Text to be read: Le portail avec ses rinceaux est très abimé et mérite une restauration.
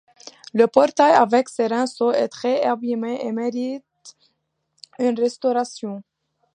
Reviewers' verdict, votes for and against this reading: accepted, 2, 1